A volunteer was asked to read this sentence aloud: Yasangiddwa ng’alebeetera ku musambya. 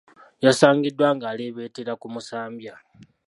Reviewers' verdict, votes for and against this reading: accepted, 2, 1